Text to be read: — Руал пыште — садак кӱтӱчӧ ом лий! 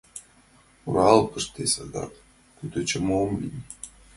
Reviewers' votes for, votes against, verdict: 2, 1, accepted